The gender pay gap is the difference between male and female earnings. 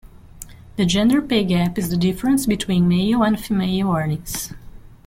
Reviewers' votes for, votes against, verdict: 2, 1, accepted